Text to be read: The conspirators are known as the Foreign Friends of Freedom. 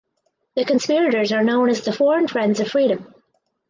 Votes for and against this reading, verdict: 4, 0, accepted